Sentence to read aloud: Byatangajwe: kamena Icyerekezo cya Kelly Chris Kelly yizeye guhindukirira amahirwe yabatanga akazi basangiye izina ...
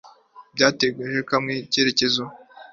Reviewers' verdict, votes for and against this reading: rejected, 0, 2